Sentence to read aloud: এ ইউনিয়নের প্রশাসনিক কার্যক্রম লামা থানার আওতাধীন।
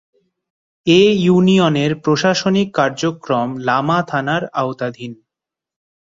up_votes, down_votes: 10, 0